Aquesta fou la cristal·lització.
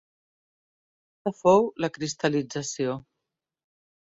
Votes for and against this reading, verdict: 0, 2, rejected